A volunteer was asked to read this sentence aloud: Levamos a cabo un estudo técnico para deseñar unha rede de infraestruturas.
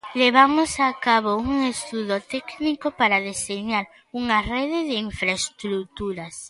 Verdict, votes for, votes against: accepted, 3, 0